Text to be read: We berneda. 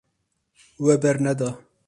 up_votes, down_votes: 2, 0